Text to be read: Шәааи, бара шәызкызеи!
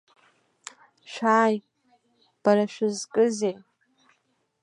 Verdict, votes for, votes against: accepted, 2, 0